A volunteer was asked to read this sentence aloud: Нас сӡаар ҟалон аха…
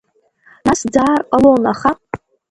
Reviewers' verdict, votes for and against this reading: rejected, 0, 2